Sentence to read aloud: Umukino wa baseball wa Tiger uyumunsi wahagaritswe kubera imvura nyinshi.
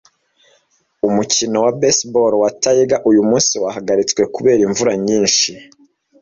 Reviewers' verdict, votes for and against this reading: accepted, 2, 0